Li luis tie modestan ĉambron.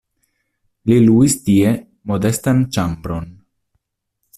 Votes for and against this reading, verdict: 2, 0, accepted